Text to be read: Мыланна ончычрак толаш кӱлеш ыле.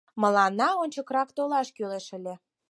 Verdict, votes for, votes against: rejected, 2, 4